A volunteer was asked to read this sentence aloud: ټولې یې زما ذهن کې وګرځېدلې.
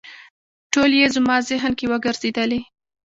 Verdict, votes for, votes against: rejected, 1, 2